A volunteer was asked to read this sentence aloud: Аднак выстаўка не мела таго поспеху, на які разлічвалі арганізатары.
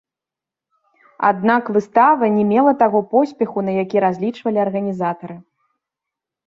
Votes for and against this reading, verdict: 0, 2, rejected